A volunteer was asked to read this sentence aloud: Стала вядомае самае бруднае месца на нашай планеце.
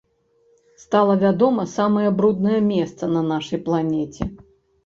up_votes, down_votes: 0, 2